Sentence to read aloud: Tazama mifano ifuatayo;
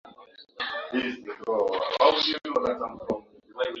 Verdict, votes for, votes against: rejected, 0, 4